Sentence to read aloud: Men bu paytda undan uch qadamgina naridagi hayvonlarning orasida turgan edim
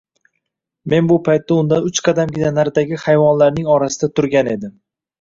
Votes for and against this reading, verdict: 2, 0, accepted